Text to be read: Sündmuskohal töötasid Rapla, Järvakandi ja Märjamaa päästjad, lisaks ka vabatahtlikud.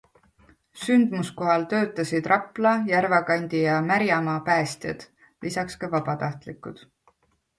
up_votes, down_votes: 2, 0